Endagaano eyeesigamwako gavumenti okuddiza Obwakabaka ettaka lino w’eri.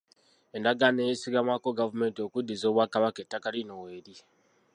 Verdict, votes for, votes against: rejected, 1, 2